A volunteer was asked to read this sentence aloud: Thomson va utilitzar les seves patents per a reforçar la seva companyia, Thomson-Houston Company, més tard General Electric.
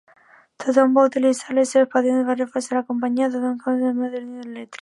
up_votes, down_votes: 2, 0